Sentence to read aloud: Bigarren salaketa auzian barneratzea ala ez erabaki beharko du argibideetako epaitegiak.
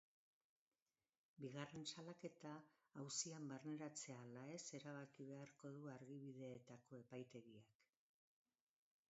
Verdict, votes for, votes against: rejected, 0, 2